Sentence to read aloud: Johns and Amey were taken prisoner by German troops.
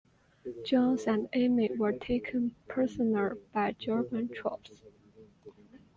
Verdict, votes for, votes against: accepted, 2, 0